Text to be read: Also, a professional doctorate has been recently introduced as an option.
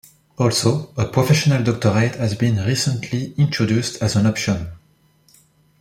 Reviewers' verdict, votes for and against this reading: accepted, 2, 0